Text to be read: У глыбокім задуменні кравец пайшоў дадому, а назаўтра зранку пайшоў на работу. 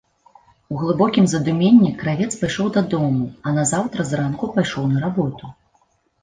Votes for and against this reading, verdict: 2, 0, accepted